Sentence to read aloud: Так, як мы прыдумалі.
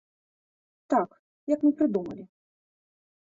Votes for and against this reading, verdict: 2, 0, accepted